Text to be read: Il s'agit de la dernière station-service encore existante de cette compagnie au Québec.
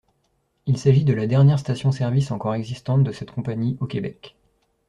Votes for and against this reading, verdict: 2, 0, accepted